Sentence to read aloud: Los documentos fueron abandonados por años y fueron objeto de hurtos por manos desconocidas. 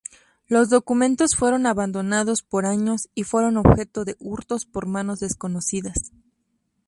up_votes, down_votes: 2, 0